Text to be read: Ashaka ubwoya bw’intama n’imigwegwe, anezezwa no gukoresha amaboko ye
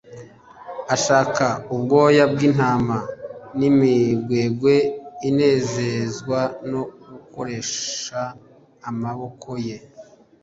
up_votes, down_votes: 0, 2